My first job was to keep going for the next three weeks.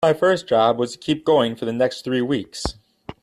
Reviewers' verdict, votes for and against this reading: accepted, 3, 0